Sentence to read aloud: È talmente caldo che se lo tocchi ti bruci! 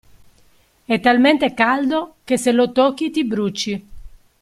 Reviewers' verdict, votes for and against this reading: accepted, 2, 0